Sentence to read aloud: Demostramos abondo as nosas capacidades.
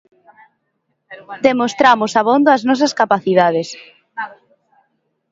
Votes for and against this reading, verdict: 2, 0, accepted